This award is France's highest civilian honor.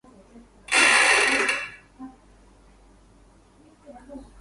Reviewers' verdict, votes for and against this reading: rejected, 0, 4